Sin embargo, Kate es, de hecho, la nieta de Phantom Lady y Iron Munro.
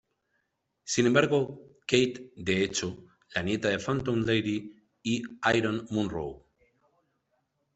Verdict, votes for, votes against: rejected, 0, 2